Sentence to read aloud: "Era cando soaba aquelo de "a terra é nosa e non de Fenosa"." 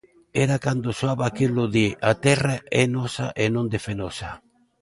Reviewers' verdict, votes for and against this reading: accepted, 2, 0